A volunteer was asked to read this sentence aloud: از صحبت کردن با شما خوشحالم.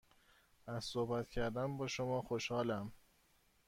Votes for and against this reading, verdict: 2, 0, accepted